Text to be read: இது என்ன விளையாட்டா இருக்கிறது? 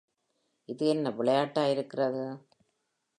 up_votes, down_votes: 3, 0